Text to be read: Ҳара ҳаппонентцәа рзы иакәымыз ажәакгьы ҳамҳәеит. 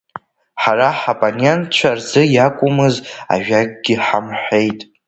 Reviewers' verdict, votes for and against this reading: rejected, 1, 2